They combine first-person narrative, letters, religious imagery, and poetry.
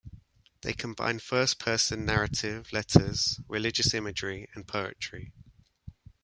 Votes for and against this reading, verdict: 0, 2, rejected